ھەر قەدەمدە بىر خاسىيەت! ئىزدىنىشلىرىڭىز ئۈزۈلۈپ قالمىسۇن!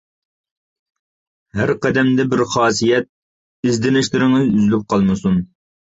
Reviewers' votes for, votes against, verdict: 2, 1, accepted